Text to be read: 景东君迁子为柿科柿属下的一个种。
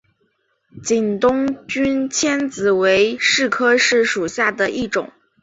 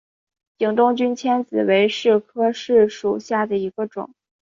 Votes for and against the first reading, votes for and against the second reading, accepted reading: 2, 2, 2, 0, second